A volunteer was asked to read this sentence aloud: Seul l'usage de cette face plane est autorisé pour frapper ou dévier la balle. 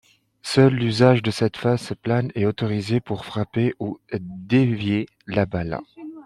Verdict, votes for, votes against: rejected, 1, 2